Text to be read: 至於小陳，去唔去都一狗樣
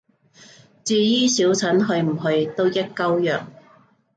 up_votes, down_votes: 0, 2